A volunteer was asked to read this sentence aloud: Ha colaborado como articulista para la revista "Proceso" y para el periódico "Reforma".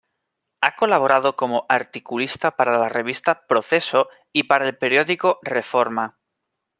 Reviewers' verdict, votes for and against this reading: accepted, 2, 0